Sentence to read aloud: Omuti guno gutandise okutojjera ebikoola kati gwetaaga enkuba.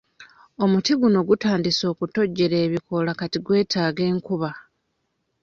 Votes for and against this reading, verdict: 2, 1, accepted